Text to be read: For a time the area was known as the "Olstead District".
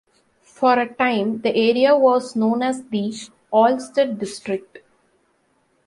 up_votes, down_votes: 2, 0